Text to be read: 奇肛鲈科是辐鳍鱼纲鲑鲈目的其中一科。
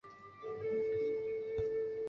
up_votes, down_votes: 0, 2